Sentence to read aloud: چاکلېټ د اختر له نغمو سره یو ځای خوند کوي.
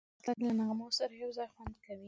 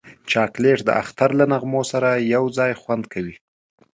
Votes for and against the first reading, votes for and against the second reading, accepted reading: 1, 2, 10, 0, second